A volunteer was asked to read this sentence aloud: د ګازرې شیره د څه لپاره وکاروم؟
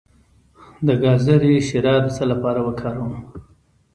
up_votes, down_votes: 2, 0